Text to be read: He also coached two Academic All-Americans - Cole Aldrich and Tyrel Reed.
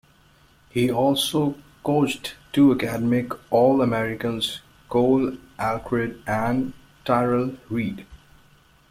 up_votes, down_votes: 0, 2